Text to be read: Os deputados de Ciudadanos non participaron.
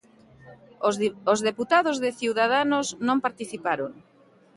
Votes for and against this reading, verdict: 0, 2, rejected